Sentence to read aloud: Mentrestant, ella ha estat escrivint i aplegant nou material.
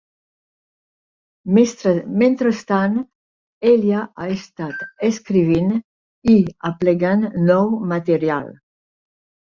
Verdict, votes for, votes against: rejected, 0, 4